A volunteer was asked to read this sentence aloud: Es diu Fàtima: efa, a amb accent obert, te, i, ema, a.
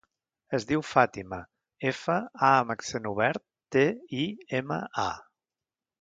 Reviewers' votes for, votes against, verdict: 2, 0, accepted